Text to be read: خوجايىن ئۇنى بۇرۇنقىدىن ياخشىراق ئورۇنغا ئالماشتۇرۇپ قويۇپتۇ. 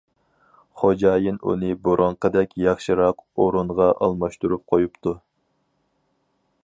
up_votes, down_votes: 0, 4